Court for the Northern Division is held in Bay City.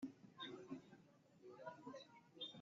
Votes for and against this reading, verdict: 0, 2, rejected